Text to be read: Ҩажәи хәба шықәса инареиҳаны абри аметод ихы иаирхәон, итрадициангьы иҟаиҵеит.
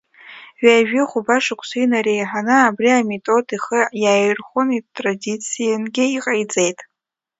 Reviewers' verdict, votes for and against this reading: rejected, 0, 2